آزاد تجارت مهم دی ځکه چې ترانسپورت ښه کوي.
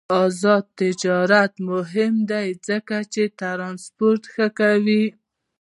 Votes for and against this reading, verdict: 2, 1, accepted